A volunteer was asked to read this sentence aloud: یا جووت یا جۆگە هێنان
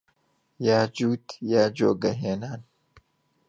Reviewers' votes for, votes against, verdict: 1, 2, rejected